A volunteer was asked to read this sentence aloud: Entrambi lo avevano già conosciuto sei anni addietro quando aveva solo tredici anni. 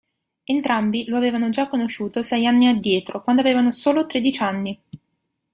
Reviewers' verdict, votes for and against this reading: rejected, 1, 2